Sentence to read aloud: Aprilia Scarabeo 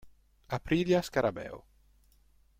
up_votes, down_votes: 2, 0